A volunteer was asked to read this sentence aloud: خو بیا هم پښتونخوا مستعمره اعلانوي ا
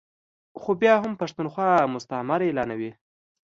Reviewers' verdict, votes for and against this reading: accepted, 2, 0